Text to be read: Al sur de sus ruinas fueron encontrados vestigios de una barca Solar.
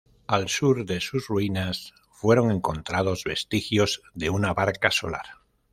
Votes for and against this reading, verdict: 2, 0, accepted